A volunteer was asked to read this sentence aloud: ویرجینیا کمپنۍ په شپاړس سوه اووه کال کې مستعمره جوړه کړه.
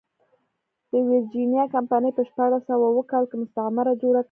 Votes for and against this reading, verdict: 0, 2, rejected